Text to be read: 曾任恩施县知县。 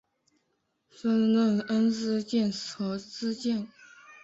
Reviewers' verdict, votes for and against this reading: rejected, 1, 3